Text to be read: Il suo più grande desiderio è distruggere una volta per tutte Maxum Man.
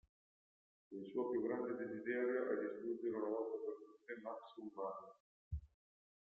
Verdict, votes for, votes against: rejected, 0, 2